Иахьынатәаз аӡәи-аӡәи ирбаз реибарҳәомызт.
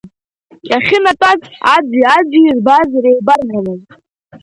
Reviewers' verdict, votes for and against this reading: accepted, 2, 0